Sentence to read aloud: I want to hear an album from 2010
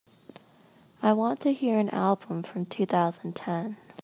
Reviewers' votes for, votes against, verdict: 0, 2, rejected